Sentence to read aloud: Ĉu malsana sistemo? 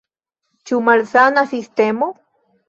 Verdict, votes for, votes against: accepted, 2, 1